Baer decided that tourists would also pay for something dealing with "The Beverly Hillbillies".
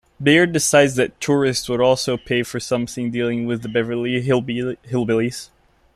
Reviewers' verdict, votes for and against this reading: rejected, 0, 2